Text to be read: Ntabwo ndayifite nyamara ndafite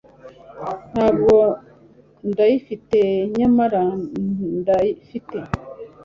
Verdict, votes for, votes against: rejected, 1, 2